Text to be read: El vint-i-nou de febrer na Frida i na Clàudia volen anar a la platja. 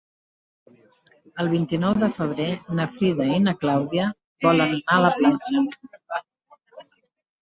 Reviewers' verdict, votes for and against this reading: rejected, 0, 2